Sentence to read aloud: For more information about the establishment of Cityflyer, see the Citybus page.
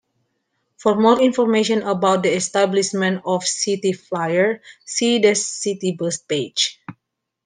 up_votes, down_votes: 2, 0